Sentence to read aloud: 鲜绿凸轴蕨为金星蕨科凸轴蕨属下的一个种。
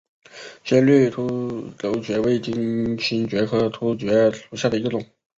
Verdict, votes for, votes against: rejected, 0, 2